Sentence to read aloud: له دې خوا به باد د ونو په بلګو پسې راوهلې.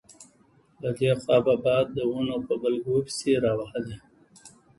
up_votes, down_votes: 1, 2